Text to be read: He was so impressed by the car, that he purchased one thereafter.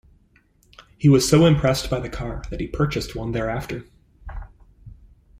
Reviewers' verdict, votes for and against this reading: accepted, 2, 0